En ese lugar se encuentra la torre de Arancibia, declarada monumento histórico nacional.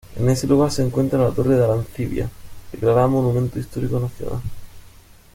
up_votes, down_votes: 1, 2